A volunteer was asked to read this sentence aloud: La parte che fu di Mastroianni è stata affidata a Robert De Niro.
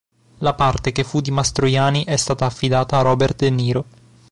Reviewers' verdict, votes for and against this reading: rejected, 0, 2